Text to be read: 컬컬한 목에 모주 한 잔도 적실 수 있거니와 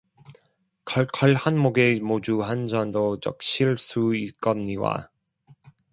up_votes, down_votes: 0, 2